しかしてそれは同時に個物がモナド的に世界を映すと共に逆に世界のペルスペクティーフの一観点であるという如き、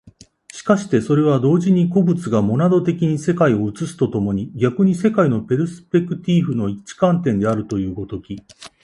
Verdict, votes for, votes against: accepted, 2, 0